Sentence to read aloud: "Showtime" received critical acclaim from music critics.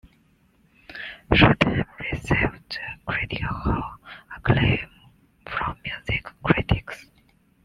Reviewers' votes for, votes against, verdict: 1, 2, rejected